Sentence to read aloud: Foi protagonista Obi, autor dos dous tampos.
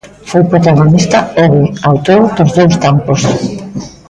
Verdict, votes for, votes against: rejected, 1, 2